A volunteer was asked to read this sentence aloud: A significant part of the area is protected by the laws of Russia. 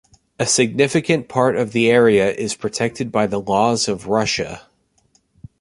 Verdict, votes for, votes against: accepted, 3, 0